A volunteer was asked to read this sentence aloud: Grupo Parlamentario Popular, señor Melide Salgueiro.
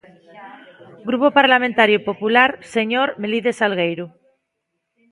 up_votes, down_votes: 3, 0